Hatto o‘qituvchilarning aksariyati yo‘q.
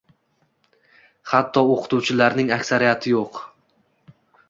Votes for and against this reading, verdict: 2, 0, accepted